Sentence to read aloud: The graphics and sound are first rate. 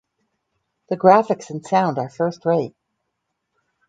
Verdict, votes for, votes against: rejected, 2, 2